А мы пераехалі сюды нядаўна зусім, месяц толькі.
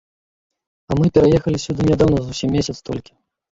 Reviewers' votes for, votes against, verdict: 0, 2, rejected